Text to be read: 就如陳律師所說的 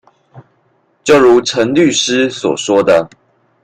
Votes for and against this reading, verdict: 2, 0, accepted